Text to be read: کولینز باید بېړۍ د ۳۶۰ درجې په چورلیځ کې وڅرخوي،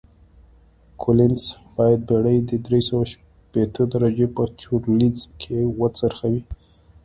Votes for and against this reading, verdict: 0, 2, rejected